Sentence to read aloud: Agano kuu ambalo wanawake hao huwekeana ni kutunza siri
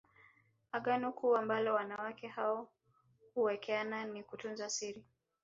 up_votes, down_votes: 0, 2